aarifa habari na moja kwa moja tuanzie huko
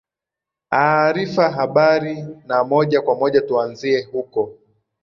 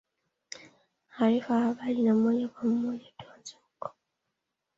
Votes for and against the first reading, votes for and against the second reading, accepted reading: 5, 1, 1, 2, first